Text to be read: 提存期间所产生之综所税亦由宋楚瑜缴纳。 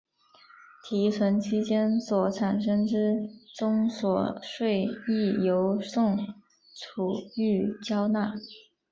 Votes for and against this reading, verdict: 2, 0, accepted